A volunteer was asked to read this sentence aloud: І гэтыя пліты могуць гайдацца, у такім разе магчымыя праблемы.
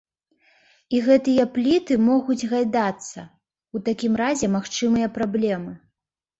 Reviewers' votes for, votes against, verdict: 2, 0, accepted